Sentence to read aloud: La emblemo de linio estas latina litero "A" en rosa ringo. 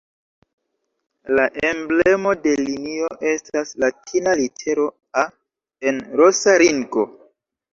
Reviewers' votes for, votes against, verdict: 2, 1, accepted